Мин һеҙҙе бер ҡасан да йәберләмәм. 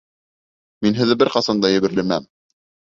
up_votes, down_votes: 2, 0